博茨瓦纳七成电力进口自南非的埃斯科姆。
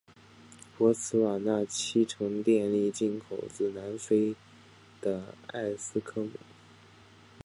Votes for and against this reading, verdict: 2, 0, accepted